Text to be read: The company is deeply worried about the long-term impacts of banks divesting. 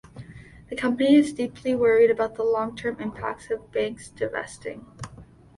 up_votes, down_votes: 2, 0